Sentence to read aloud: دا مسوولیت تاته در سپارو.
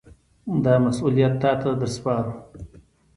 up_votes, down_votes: 2, 0